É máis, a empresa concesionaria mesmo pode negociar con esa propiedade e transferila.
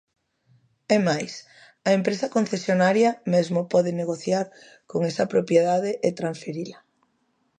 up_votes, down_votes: 2, 0